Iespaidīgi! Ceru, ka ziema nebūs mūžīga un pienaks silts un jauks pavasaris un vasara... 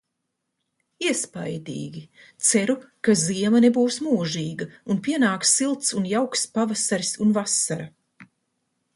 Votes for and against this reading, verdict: 0, 2, rejected